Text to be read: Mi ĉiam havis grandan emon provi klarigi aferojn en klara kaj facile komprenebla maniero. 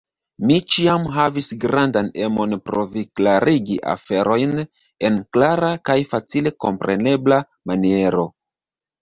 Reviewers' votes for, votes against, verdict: 0, 2, rejected